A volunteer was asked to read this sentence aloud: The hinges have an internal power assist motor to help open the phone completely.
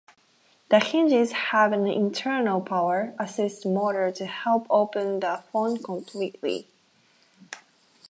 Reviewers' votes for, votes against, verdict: 2, 4, rejected